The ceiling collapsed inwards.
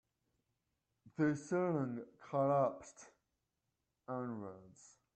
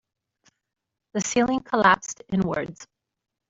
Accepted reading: second